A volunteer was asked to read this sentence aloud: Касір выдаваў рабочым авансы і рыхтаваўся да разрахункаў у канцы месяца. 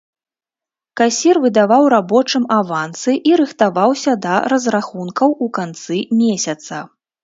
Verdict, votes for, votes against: accepted, 3, 0